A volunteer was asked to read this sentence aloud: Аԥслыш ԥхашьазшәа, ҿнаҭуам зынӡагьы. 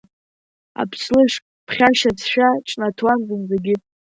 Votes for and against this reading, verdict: 1, 3, rejected